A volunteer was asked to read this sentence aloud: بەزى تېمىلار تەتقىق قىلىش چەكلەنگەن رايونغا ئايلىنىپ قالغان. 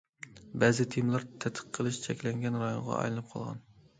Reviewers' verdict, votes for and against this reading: accepted, 2, 0